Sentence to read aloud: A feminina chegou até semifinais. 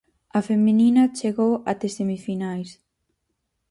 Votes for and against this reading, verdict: 4, 0, accepted